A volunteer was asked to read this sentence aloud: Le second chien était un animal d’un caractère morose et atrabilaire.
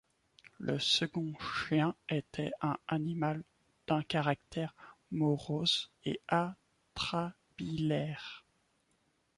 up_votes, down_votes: 2, 0